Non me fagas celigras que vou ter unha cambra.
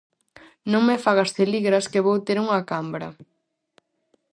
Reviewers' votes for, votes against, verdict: 4, 0, accepted